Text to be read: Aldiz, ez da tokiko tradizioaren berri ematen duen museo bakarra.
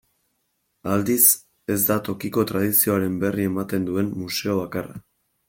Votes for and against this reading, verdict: 3, 0, accepted